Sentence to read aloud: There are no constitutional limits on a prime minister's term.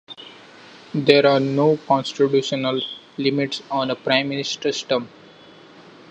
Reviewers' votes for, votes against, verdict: 1, 2, rejected